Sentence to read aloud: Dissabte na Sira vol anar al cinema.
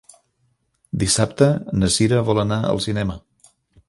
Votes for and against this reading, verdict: 2, 0, accepted